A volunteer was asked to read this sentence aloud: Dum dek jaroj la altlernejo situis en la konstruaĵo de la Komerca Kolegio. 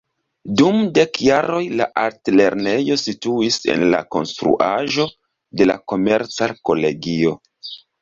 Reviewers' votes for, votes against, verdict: 1, 2, rejected